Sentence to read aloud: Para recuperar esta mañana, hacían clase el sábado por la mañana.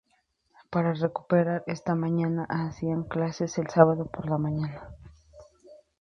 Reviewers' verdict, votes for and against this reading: rejected, 0, 4